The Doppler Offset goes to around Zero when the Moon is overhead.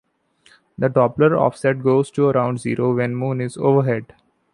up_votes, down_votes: 2, 1